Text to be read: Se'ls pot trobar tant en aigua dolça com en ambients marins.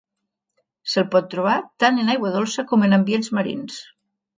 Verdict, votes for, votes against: rejected, 0, 2